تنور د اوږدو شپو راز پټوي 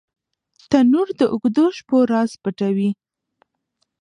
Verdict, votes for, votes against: rejected, 0, 2